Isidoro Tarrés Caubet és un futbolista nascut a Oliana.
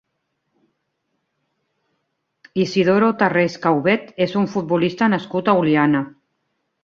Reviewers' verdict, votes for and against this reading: accepted, 2, 0